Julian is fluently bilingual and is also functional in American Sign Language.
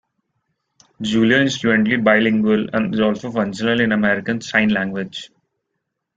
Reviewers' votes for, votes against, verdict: 0, 2, rejected